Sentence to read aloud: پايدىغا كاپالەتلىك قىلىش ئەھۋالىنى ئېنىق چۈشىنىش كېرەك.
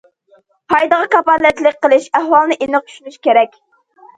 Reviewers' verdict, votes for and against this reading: accepted, 2, 0